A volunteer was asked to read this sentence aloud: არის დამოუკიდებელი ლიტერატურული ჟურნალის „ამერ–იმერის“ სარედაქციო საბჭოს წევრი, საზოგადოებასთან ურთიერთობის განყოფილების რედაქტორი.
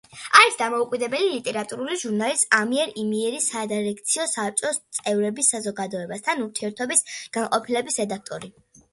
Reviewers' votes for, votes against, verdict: 0, 3, rejected